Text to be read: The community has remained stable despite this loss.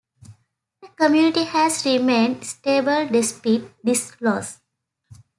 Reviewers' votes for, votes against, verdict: 0, 2, rejected